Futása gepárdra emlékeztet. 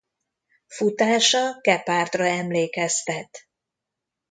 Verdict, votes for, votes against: accepted, 2, 0